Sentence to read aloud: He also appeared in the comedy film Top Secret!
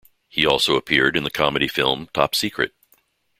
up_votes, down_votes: 2, 0